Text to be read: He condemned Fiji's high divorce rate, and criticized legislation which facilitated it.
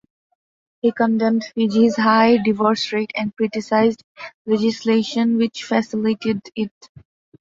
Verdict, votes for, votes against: accepted, 2, 0